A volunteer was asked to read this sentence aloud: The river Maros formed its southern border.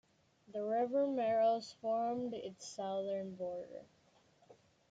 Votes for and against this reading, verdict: 2, 0, accepted